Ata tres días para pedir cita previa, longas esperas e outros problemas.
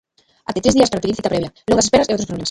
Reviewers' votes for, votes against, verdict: 0, 2, rejected